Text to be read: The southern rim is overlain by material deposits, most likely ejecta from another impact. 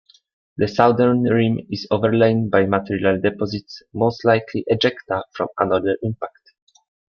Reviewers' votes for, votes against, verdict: 2, 0, accepted